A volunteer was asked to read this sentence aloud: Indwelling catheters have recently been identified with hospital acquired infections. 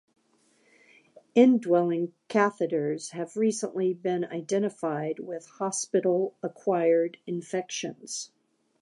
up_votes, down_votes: 3, 0